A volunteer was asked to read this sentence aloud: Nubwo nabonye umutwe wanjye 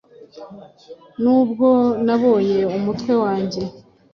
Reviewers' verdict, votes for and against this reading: accepted, 2, 0